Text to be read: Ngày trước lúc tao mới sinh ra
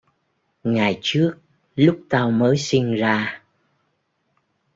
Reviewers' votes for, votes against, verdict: 2, 0, accepted